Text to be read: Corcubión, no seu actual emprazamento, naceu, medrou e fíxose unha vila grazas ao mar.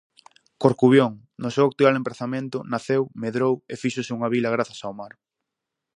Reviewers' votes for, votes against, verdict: 2, 2, rejected